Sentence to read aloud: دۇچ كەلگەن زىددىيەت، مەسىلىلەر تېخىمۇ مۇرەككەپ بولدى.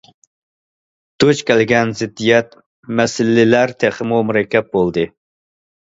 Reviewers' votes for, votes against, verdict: 2, 0, accepted